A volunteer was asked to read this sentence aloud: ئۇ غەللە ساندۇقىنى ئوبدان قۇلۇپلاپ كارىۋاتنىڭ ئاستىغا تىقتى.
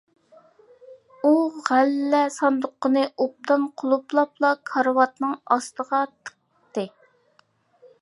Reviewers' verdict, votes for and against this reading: rejected, 0, 2